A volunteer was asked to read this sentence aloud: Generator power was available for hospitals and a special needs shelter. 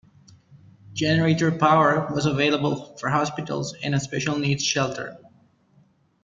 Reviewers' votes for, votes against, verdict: 2, 0, accepted